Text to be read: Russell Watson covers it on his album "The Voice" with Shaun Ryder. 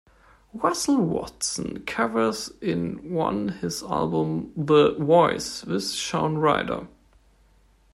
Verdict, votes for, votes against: rejected, 0, 2